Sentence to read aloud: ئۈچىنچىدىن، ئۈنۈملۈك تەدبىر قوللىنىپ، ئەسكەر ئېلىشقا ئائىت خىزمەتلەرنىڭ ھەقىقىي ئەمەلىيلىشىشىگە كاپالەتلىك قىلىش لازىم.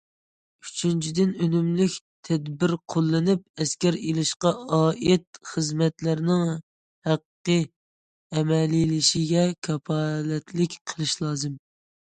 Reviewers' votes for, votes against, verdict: 0, 2, rejected